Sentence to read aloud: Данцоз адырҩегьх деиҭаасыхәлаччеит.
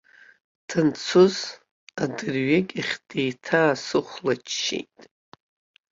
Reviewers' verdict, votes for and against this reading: rejected, 1, 2